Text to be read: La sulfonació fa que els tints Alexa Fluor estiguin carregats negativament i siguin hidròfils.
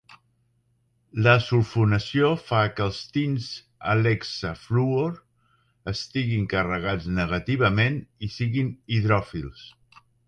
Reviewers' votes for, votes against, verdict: 2, 0, accepted